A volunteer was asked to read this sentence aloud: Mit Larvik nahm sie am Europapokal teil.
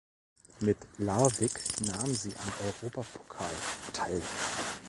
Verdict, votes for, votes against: accepted, 2, 0